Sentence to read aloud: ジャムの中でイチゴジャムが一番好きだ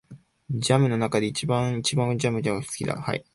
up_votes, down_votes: 1, 3